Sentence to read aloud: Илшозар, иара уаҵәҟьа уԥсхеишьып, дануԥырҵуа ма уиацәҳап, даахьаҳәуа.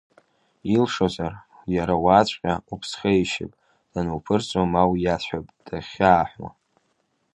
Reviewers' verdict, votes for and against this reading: accepted, 2, 0